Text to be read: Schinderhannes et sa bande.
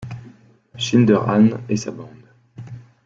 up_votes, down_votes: 1, 2